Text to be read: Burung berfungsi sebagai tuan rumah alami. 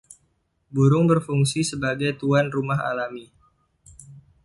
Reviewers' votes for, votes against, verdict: 2, 0, accepted